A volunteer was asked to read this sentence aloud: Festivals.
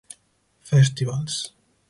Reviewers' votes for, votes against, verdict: 4, 0, accepted